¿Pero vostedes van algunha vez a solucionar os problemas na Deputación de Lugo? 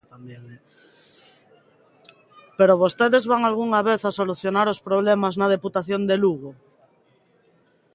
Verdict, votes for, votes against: accepted, 2, 0